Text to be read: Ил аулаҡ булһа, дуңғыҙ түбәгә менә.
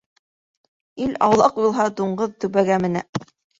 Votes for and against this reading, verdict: 2, 0, accepted